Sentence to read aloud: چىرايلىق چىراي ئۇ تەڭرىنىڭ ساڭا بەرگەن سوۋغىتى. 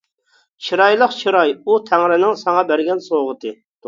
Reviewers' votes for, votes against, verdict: 2, 0, accepted